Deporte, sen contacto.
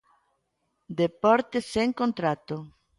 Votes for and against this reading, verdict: 0, 2, rejected